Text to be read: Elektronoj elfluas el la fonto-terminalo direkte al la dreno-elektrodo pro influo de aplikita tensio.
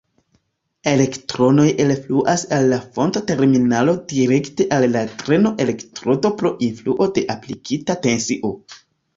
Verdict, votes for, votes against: accepted, 2, 0